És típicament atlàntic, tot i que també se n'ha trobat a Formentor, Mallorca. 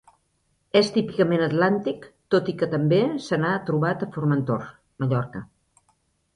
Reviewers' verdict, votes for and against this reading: accepted, 4, 0